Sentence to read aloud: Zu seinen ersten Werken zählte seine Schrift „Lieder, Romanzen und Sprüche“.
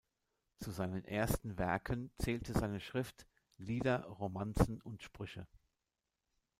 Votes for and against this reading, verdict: 2, 0, accepted